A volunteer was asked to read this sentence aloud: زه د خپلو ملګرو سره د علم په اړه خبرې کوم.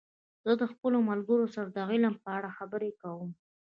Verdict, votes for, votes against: rejected, 0, 2